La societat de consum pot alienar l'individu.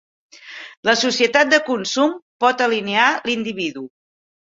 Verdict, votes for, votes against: rejected, 4, 5